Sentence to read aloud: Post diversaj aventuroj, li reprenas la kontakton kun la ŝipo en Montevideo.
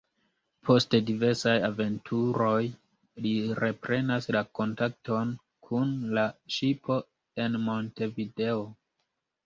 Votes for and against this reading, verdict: 2, 0, accepted